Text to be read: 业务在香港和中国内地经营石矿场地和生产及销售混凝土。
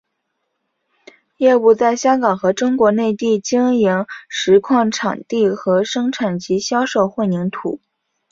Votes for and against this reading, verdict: 3, 0, accepted